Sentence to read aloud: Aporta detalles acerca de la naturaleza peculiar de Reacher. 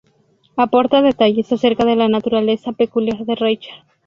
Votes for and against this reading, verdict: 0, 2, rejected